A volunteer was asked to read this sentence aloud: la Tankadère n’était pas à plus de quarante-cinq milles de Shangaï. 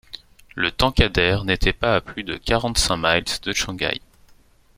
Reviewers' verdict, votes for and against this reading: accepted, 2, 0